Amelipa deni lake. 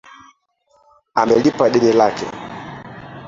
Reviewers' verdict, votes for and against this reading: rejected, 1, 2